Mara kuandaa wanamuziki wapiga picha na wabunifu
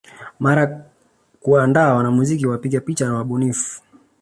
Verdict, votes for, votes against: accepted, 3, 2